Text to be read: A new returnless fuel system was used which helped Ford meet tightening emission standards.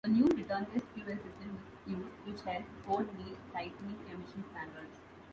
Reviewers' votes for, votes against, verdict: 2, 0, accepted